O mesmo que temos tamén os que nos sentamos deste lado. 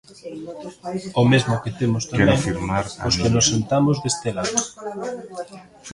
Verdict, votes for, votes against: rejected, 0, 2